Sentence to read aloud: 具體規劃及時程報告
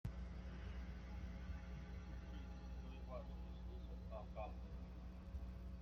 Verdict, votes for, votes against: rejected, 0, 2